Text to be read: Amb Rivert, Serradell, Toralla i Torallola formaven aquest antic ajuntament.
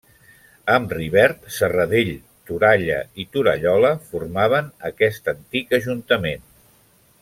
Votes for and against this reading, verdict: 2, 0, accepted